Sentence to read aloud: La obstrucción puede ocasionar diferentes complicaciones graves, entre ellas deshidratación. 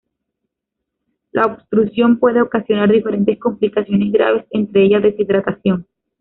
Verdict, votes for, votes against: rejected, 0, 2